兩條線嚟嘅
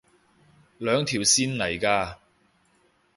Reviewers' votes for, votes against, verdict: 0, 2, rejected